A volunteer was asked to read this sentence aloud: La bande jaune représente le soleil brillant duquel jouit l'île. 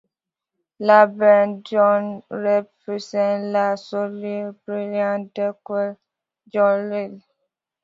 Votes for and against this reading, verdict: 0, 2, rejected